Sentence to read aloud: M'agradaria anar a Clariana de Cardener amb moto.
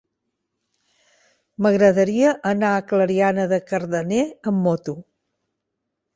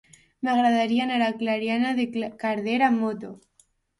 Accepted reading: first